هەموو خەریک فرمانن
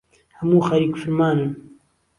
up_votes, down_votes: 2, 0